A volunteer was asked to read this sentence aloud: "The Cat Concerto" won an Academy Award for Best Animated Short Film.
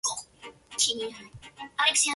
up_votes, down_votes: 0, 2